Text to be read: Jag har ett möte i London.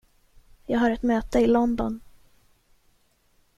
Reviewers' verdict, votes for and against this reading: accepted, 2, 0